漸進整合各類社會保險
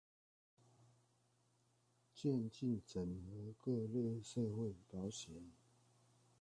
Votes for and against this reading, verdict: 0, 2, rejected